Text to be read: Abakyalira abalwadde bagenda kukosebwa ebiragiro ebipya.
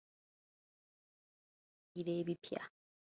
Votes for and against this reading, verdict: 0, 2, rejected